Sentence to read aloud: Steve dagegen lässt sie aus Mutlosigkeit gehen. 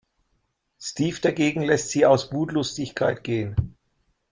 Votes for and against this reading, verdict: 0, 2, rejected